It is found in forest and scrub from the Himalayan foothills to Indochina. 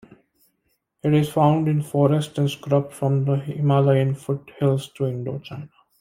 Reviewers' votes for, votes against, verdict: 0, 2, rejected